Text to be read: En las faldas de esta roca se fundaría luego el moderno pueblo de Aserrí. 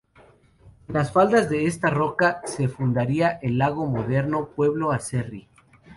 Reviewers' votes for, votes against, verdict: 0, 2, rejected